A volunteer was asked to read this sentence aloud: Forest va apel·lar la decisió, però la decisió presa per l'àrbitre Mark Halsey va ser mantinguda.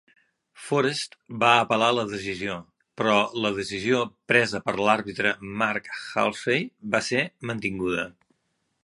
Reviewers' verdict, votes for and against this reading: accepted, 2, 0